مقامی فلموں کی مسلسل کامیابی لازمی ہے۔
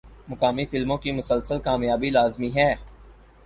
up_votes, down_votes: 4, 0